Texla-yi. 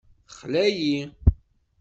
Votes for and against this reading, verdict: 2, 0, accepted